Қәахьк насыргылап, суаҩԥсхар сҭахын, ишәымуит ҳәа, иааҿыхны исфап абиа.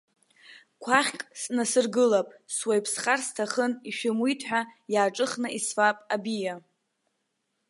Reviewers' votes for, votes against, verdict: 1, 2, rejected